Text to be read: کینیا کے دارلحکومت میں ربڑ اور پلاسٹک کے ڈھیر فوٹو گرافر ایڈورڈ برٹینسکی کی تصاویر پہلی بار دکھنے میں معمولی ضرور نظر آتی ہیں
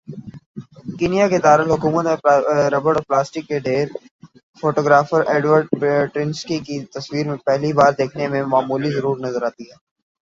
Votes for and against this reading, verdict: 0, 2, rejected